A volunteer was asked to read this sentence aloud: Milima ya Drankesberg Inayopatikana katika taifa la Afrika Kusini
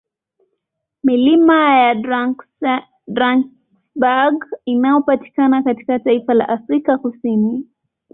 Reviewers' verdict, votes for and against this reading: rejected, 1, 2